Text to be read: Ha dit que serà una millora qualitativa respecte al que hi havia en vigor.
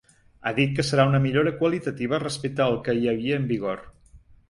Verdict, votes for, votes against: accepted, 2, 0